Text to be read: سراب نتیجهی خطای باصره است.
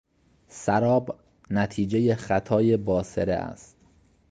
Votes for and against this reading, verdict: 2, 0, accepted